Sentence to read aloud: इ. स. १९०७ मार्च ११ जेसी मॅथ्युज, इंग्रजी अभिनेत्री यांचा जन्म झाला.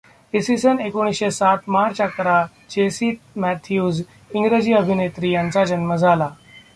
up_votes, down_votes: 0, 2